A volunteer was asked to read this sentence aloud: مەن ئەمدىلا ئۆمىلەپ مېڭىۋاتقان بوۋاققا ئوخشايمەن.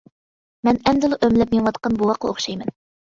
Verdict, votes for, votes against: accepted, 2, 0